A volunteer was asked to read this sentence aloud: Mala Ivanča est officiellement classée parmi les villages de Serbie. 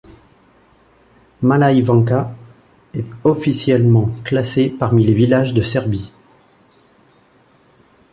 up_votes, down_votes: 2, 1